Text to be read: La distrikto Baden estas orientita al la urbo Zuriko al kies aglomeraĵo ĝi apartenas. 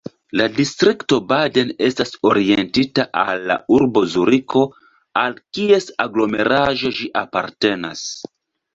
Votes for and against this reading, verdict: 2, 0, accepted